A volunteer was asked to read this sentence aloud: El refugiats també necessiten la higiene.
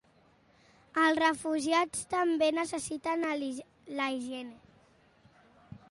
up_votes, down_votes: 0, 2